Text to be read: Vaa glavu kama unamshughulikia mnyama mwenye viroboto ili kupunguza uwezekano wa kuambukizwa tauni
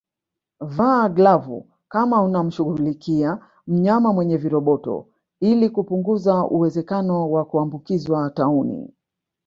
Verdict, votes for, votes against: accepted, 2, 0